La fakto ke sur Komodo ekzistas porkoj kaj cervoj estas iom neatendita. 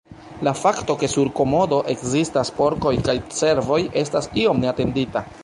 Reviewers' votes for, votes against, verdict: 2, 1, accepted